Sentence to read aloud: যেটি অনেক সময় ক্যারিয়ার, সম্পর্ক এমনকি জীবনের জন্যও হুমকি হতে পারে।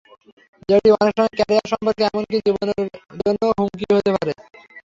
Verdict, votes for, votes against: rejected, 0, 3